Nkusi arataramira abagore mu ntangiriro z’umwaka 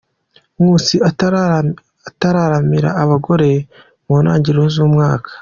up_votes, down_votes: 0, 2